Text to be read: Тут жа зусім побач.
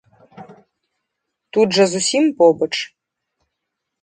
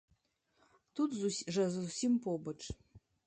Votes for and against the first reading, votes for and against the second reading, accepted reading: 2, 0, 0, 2, first